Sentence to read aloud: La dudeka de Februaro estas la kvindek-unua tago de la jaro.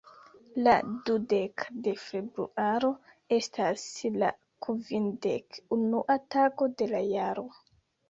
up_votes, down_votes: 1, 2